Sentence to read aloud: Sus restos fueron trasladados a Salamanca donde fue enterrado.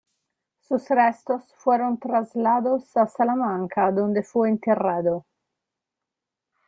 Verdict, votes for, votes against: rejected, 0, 2